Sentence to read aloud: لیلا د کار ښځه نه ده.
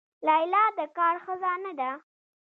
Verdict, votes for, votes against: rejected, 1, 2